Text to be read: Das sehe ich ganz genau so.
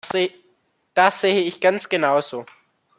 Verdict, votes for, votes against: rejected, 1, 2